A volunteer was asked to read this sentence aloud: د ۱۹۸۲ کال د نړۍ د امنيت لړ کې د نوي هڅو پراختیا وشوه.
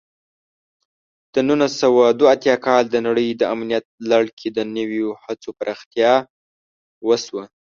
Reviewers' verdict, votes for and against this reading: rejected, 0, 2